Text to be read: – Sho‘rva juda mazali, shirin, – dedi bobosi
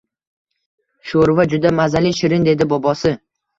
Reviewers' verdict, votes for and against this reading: accepted, 2, 0